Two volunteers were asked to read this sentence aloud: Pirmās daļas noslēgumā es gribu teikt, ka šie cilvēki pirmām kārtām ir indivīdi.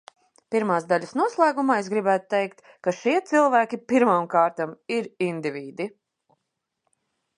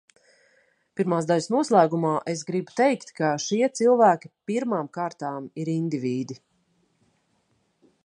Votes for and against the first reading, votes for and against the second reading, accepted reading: 0, 2, 2, 0, second